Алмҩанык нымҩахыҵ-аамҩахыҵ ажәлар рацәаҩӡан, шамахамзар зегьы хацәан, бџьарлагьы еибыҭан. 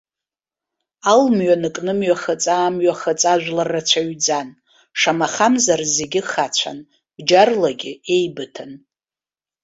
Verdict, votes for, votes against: accepted, 2, 0